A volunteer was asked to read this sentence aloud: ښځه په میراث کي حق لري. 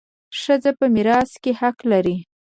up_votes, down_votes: 0, 2